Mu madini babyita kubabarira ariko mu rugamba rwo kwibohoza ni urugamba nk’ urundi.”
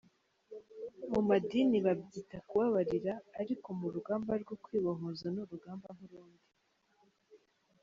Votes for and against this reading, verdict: 2, 0, accepted